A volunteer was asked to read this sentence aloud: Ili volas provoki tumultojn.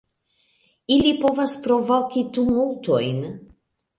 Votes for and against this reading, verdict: 1, 2, rejected